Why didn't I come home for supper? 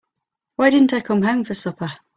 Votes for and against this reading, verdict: 3, 0, accepted